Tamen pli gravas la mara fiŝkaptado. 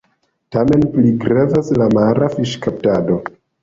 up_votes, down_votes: 1, 2